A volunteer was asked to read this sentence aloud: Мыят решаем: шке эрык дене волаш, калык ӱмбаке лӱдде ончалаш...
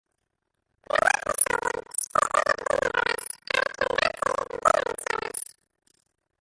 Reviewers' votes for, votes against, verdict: 1, 2, rejected